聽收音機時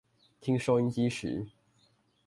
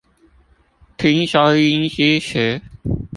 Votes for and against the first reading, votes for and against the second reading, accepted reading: 2, 0, 0, 2, first